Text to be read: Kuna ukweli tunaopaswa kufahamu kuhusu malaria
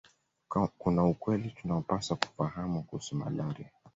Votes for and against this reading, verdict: 1, 2, rejected